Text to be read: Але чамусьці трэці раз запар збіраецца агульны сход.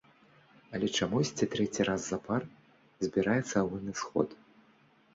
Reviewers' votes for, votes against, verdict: 1, 2, rejected